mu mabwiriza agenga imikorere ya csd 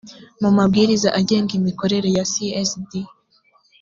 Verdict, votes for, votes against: accepted, 2, 0